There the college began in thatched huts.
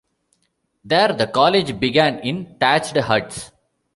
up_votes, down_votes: 1, 2